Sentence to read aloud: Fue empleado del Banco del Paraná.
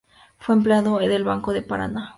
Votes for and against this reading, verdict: 2, 0, accepted